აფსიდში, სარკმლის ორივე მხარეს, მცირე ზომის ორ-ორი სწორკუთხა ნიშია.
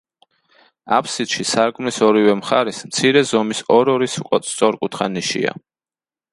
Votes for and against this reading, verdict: 0, 2, rejected